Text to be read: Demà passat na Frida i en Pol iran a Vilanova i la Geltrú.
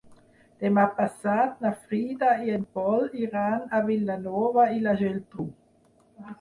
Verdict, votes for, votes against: accepted, 8, 0